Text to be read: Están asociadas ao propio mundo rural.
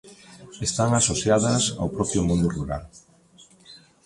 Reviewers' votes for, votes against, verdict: 2, 1, accepted